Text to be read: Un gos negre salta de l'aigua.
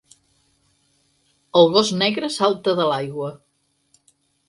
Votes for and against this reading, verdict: 2, 4, rejected